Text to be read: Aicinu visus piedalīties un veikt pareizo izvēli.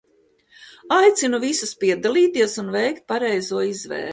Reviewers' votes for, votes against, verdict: 1, 2, rejected